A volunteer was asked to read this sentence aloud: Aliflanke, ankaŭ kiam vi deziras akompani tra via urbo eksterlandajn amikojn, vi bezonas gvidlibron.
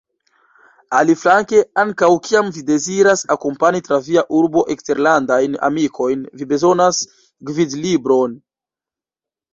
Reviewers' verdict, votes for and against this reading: rejected, 1, 2